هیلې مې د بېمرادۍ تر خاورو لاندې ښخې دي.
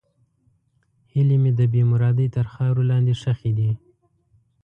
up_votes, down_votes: 2, 0